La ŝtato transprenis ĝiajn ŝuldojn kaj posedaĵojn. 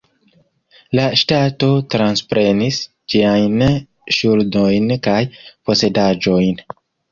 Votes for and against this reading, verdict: 1, 2, rejected